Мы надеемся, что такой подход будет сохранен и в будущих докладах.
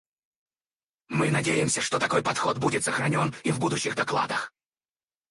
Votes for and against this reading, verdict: 2, 4, rejected